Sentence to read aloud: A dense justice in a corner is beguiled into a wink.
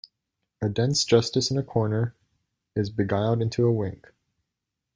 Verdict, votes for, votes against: accepted, 2, 0